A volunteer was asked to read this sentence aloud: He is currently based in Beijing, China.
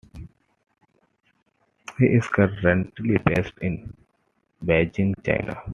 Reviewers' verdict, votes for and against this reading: rejected, 0, 2